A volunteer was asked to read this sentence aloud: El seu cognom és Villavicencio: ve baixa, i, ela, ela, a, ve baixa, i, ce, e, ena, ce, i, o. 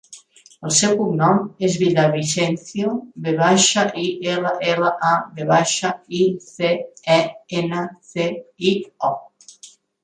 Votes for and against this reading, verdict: 0, 2, rejected